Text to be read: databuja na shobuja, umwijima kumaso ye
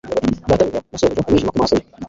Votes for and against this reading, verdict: 2, 0, accepted